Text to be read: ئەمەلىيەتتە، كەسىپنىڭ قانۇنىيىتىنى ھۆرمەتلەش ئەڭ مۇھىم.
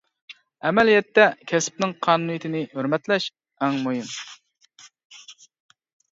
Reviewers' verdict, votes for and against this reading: accepted, 2, 0